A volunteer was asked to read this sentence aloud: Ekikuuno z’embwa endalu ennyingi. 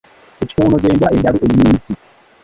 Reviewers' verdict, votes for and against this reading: rejected, 0, 2